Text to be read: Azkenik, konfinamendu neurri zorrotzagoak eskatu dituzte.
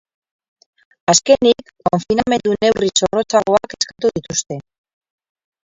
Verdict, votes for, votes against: rejected, 0, 4